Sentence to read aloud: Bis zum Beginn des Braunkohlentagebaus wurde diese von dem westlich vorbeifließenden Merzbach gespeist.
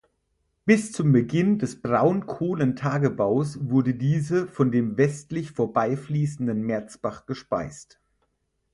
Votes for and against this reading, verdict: 4, 0, accepted